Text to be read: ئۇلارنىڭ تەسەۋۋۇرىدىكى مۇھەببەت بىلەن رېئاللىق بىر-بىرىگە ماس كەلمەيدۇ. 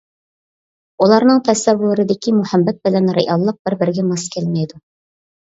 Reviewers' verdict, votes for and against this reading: accepted, 2, 0